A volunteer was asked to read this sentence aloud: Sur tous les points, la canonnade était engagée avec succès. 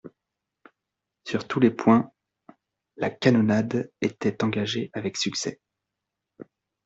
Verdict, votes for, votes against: accepted, 2, 0